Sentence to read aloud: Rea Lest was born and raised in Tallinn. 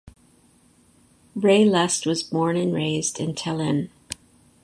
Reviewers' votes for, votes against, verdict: 2, 2, rejected